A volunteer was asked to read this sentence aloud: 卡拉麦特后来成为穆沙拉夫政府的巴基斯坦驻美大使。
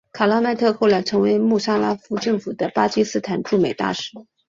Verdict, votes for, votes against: accepted, 2, 0